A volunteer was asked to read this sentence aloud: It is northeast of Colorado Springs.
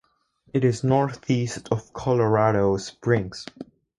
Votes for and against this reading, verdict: 4, 0, accepted